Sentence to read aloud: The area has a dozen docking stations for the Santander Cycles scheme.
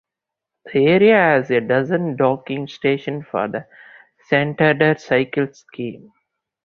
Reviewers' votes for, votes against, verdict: 0, 2, rejected